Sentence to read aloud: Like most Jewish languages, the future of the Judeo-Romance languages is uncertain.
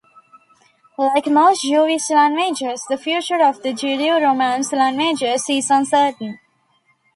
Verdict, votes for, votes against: rejected, 0, 2